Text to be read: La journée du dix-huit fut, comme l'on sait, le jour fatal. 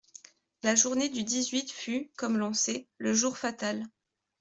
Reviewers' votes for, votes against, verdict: 2, 0, accepted